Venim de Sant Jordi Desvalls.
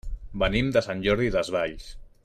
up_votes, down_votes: 2, 0